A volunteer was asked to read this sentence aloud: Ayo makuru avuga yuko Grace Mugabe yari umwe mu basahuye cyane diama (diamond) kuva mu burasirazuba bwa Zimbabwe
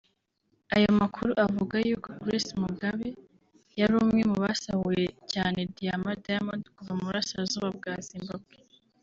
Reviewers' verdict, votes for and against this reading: accepted, 2, 0